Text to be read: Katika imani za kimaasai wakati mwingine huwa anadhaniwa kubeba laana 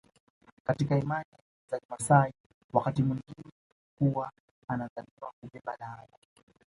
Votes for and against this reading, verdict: 0, 2, rejected